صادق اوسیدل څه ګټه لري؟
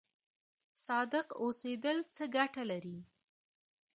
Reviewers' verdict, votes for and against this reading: rejected, 1, 2